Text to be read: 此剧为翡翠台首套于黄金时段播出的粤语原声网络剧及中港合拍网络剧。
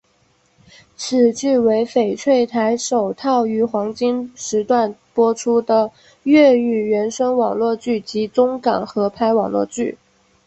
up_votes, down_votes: 5, 1